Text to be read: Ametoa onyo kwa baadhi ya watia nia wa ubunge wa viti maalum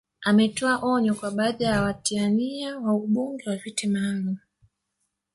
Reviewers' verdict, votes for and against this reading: rejected, 1, 2